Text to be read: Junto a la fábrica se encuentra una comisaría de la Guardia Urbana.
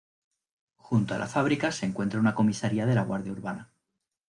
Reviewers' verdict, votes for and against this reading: rejected, 1, 2